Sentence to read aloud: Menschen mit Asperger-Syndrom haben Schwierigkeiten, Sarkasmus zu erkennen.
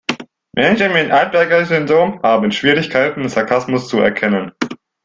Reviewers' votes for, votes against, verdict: 2, 3, rejected